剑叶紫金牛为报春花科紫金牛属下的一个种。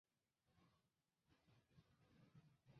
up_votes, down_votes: 1, 2